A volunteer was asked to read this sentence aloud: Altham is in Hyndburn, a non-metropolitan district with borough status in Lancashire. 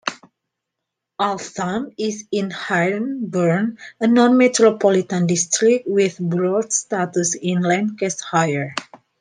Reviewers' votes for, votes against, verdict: 1, 2, rejected